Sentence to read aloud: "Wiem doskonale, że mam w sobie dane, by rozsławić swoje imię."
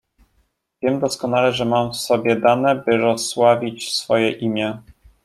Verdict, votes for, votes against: accepted, 2, 0